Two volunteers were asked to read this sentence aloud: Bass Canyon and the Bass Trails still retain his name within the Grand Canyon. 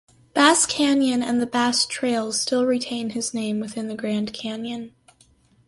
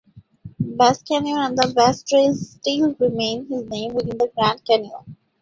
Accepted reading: first